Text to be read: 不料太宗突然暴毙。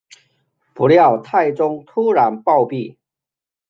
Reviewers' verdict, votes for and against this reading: accepted, 2, 1